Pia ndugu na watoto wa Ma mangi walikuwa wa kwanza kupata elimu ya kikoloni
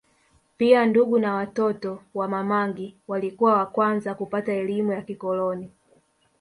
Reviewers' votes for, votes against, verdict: 2, 1, accepted